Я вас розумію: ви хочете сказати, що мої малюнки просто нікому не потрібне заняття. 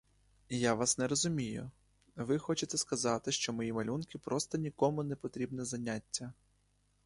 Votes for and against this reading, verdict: 0, 2, rejected